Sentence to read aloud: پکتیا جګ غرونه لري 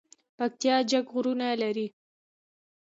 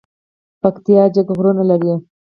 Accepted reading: first